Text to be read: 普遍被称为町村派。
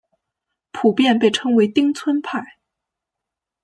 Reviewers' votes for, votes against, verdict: 1, 2, rejected